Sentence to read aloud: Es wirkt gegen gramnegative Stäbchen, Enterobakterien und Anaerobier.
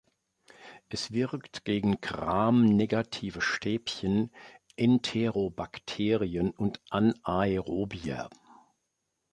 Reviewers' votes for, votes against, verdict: 1, 2, rejected